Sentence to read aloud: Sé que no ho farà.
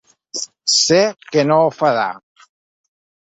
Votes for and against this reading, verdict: 2, 0, accepted